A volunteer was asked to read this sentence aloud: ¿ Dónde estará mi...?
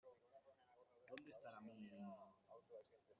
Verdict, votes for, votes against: rejected, 0, 2